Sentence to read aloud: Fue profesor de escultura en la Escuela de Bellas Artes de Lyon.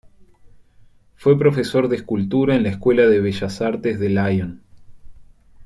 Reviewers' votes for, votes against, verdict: 2, 0, accepted